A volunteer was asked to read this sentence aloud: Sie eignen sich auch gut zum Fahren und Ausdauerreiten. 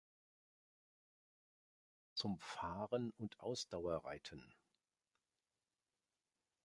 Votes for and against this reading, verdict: 0, 2, rejected